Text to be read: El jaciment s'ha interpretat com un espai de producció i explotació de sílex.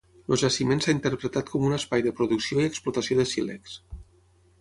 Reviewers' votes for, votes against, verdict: 3, 6, rejected